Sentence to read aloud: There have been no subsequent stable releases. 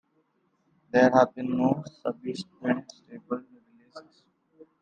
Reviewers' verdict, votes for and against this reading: rejected, 0, 2